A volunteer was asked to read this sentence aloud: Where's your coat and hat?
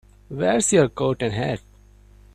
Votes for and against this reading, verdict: 2, 0, accepted